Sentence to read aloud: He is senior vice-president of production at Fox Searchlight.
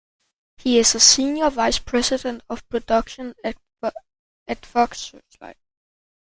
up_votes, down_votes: 0, 2